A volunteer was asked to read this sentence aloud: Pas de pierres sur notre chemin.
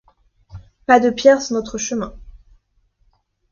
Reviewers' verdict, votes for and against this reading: accepted, 2, 0